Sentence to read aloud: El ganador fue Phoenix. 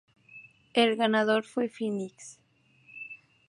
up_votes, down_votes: 2, 0